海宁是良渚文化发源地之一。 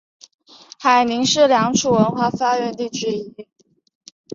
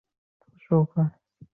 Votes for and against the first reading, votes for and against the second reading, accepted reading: 5, 0, 3, 5, first